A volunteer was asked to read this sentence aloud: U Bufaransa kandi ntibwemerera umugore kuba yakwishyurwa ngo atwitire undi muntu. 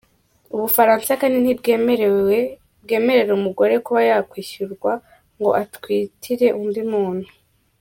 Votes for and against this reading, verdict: 0, 2, rejected